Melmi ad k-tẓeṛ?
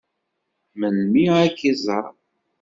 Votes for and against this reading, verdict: 0, 2, rejected